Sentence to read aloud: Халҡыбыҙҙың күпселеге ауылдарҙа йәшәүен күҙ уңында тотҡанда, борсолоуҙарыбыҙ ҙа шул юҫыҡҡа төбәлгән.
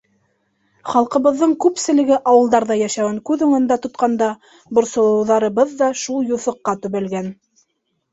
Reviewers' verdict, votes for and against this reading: accepted, 2, 0